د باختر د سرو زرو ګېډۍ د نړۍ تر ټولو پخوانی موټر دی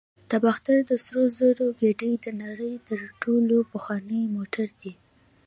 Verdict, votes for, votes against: rejected, 1, 2